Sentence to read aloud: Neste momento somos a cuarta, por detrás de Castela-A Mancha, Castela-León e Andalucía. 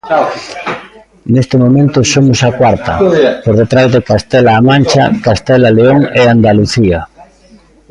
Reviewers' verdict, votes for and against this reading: rejected, 0, 2